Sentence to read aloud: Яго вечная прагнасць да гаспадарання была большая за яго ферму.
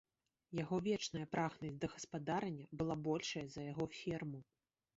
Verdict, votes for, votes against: accepted, 2, 0